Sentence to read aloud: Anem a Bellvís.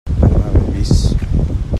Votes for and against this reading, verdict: 0, 2, rejected